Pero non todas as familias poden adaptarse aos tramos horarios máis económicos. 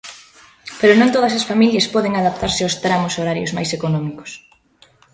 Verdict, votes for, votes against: accepted, 2, 0